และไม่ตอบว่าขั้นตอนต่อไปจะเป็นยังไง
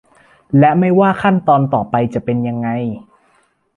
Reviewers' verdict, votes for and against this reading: rejected, 0, 2